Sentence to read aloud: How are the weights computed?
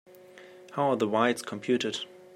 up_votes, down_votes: 2, 0